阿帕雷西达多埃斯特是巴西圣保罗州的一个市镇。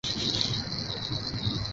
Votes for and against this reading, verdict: 0, 3, rejected